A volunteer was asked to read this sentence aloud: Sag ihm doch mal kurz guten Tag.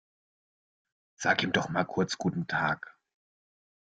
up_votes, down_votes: 2, 0